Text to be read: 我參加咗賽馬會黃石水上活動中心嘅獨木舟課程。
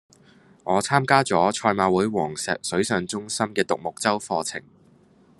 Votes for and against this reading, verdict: 0, 2, rejected